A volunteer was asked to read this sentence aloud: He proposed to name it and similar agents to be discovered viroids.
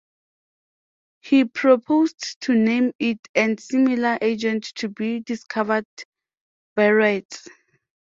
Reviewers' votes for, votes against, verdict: 0, 2, rejected